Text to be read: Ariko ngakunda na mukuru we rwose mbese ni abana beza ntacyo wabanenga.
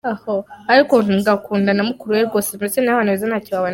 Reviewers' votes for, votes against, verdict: 0, 5, rejected